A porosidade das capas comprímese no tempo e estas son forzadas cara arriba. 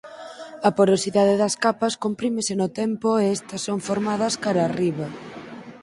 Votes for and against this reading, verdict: 0, 6, rejected